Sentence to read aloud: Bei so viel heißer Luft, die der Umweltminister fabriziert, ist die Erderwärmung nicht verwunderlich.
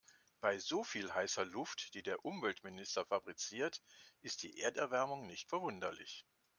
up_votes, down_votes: 2, 0